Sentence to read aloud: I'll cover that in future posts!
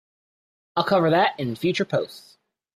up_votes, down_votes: 2, 1